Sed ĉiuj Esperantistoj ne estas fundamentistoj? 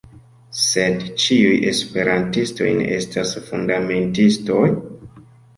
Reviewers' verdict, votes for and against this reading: accepted, 2, 0